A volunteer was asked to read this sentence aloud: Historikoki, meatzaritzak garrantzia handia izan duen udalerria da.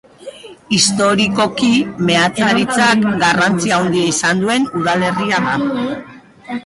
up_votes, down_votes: 0, 2